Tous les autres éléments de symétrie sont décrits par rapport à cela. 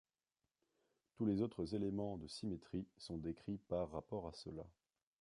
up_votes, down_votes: 2, 0